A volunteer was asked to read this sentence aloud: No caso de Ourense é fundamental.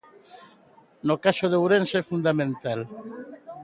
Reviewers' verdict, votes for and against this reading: rejected, 1, 2